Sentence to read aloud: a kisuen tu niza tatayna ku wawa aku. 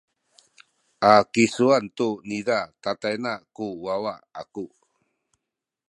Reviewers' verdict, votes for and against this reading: accepted, 2, 1